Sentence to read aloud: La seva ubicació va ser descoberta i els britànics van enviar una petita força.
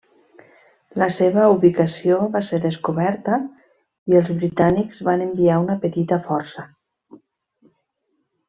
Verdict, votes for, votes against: accepted, 3, 0